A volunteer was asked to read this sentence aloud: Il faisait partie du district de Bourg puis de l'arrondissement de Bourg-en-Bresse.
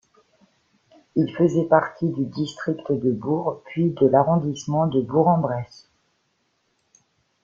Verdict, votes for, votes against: accepted, 2, 1